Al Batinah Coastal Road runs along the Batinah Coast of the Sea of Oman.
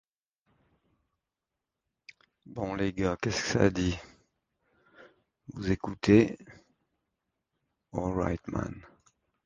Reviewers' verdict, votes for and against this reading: rejected, 0, 2